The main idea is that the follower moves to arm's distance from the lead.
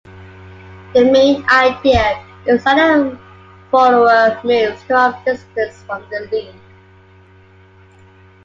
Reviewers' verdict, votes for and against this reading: rejected, 1, 2